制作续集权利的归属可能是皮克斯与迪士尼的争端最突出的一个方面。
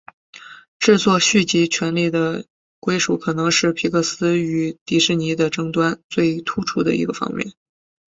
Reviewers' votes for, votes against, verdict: 5, 0, accepted